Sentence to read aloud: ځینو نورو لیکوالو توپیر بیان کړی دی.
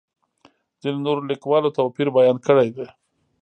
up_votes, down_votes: 2, 1